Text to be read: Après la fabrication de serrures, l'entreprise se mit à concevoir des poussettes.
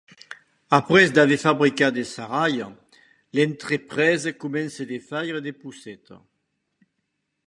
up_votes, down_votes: 1, 2